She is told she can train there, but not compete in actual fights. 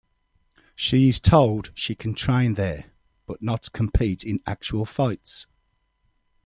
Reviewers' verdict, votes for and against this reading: accepted, 2, 0